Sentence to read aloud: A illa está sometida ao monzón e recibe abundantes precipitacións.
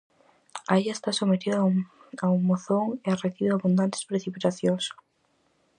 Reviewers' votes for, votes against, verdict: 0, 4, rejected